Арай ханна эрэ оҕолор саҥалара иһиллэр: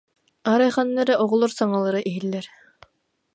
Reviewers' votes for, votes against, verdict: 2, 0, accepted